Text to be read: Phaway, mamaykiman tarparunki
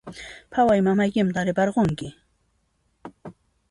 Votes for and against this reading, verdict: 2, 1, accepted